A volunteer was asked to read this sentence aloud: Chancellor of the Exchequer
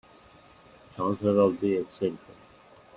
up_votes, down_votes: 0, 2